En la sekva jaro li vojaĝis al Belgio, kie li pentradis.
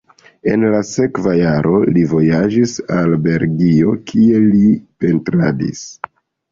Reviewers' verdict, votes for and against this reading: rejected, 1, 2